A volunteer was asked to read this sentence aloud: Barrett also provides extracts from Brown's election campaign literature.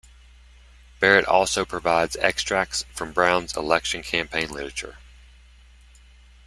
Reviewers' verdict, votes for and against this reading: accepted, 2, 0